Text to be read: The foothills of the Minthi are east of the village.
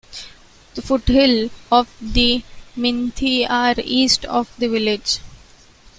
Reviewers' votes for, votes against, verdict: 0, 2, rejected